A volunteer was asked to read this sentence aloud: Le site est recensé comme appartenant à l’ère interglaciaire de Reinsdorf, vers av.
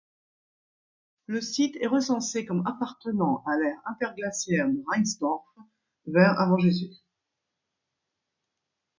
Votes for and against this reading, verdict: 1, 2, rejected